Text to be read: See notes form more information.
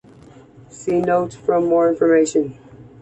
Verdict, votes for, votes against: accepted, 2, 1